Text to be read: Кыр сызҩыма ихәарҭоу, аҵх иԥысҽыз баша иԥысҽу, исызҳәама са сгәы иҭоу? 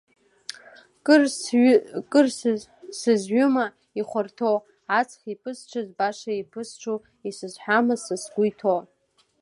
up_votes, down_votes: 0, 2